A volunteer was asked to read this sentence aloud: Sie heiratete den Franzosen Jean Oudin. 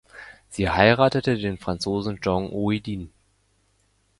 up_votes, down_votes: 1, 2